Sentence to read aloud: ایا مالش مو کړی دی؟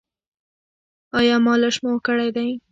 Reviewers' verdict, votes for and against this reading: accepted, 2, 0